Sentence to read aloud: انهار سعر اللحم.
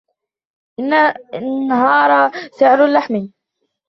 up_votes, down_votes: 2, 0